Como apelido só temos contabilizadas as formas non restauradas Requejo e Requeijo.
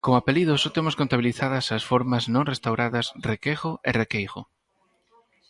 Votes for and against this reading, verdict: 2, 4, rejected